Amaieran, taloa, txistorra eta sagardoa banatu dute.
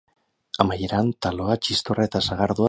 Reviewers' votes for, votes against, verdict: 4, 6, rejected